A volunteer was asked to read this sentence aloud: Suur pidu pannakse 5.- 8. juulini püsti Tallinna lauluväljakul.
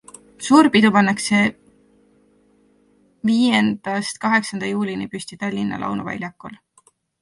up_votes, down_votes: 0, 2